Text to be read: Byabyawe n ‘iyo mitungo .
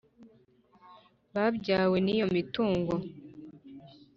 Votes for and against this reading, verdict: 1, 2, rejected